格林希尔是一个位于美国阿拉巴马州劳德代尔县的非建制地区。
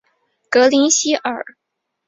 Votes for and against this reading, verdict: 0, 2, rejected